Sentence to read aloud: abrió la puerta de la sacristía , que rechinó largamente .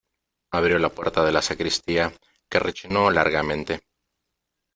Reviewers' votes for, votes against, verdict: 2, 1, accepted